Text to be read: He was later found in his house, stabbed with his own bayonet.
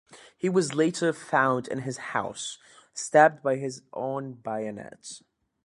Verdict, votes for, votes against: rejected, 1, 2